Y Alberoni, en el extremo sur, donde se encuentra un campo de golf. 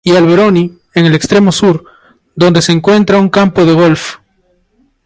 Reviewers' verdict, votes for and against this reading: rejected, 0, 2